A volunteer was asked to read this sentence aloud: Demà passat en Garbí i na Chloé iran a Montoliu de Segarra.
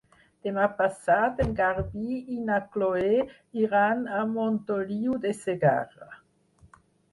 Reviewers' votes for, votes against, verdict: 4, 0, accepted